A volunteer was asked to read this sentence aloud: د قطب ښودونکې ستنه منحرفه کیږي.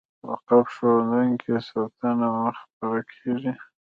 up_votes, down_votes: 1, 2